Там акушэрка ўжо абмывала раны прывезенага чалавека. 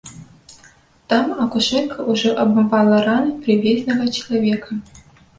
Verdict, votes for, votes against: rejected, 0, 2